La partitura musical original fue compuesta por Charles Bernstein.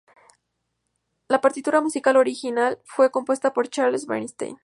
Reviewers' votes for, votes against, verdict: 2, 0, accepted